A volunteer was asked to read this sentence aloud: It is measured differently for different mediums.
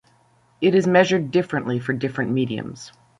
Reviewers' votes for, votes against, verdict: 0, 2, rejected